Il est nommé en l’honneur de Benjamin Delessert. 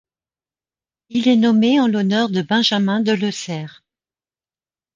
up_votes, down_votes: 0, 2